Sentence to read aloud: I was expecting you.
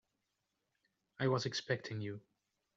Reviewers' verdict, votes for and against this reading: accepted, 2, 0